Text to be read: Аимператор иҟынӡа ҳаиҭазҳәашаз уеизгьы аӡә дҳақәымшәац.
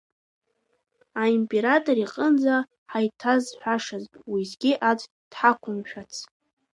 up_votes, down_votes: 2, 0